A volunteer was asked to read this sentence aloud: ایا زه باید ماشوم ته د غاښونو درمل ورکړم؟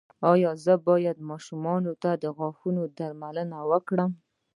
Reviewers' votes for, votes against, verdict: 2, 1, accepted